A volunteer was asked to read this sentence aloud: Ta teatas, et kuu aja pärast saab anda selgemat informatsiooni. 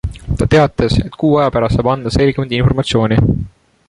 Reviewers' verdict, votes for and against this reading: accepted, 2, 0